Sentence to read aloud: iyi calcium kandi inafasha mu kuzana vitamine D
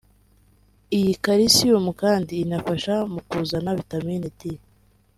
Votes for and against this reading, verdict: 3, 1, accepted